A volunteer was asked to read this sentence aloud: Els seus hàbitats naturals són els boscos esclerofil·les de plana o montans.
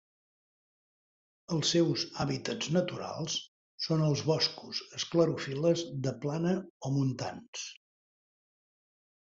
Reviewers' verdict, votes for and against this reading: accepted, 2, 0